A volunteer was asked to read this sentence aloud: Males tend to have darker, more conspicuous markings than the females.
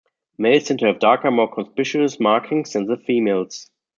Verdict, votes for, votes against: rejected, 0, 2